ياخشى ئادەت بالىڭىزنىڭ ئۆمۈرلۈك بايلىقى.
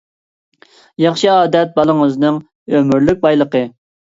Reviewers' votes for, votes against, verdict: 2, 0, accepted